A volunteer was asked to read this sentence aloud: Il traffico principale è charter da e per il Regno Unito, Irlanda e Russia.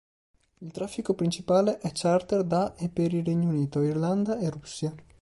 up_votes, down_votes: 2, 0